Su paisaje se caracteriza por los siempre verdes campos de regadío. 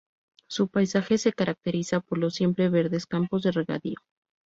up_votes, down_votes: 0, 2